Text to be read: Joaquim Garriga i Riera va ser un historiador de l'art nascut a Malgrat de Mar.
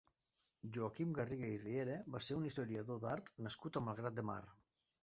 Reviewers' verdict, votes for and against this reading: rejected, 1, 2